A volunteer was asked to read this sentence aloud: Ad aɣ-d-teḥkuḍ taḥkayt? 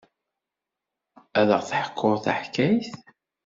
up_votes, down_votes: 2, 0